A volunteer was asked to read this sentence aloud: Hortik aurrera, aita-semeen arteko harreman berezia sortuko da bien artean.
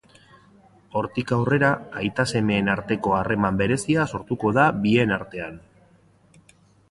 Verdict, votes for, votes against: accepted, 2, 0